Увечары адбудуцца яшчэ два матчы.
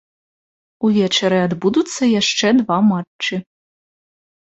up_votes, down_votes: 2, 0